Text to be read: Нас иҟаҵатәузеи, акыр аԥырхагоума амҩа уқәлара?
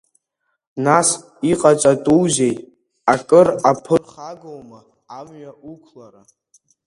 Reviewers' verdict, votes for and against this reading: accepted, 2, 0